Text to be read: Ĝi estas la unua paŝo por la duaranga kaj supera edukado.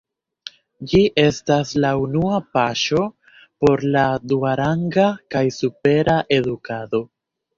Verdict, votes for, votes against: accepted, 2, 0